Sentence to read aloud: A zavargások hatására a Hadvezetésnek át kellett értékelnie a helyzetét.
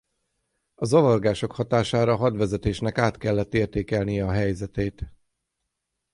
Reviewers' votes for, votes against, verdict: 3, 3, rejected